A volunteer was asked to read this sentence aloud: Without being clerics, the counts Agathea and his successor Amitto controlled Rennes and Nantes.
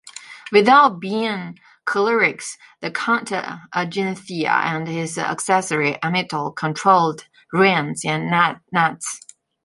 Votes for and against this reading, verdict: 0, 2, rejected